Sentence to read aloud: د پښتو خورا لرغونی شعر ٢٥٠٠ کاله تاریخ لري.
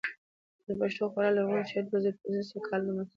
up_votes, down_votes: 0, 2